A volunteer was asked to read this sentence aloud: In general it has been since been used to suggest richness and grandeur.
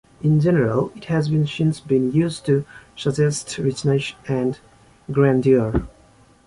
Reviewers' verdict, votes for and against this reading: rejected, 1, 2